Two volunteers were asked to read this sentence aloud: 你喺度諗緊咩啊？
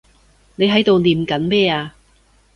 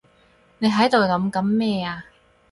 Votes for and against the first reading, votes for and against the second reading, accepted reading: 1, 2, 4, 0, second